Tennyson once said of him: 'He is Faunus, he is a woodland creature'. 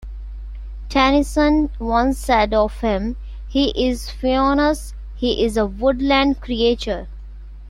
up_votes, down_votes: 2, 0